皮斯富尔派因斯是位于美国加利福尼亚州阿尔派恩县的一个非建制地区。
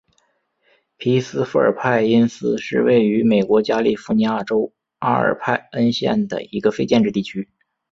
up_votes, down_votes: 2, 1